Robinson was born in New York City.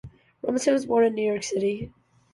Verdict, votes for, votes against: accepted, 2, 0